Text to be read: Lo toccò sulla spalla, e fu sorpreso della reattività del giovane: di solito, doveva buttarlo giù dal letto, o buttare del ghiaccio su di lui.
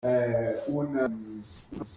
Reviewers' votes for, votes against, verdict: 0, 2, rejected